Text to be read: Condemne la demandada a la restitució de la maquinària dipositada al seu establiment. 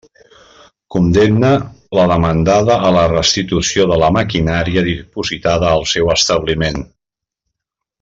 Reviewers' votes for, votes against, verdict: 2, 0, accepted